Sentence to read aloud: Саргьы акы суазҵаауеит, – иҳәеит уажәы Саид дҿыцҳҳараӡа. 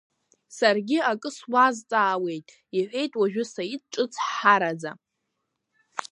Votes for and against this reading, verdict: 1, 2, rejected